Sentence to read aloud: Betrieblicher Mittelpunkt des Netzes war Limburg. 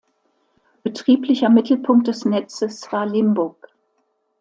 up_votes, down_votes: 2, 0